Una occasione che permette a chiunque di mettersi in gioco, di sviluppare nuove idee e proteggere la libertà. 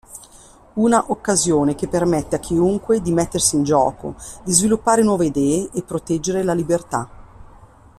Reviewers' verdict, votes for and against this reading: accepted, 2, 0